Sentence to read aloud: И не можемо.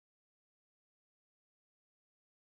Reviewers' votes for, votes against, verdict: 0, 2, rejected